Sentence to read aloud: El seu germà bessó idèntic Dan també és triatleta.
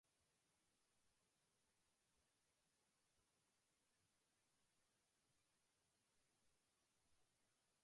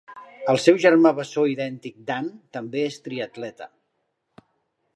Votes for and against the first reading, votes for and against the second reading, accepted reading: 0, 2, 2, 0, second